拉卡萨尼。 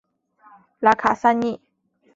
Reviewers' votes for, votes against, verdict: 3, 0, accepted